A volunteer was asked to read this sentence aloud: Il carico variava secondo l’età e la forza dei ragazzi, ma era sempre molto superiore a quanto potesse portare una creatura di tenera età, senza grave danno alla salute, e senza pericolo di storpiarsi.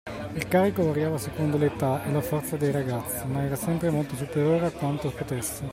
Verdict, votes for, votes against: rejected, 0, 2